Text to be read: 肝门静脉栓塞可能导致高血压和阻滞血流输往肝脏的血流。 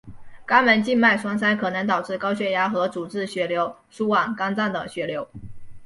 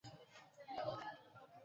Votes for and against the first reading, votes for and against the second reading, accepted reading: 2, 0, 0, 3, first